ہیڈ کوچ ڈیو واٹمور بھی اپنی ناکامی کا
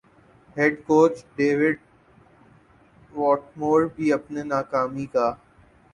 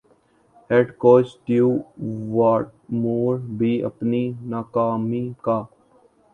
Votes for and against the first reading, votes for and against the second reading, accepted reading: 9, 3, 1, 2, first